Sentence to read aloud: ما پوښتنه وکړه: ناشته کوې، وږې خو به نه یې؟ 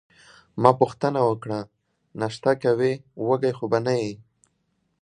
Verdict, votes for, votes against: accepted, 2, 0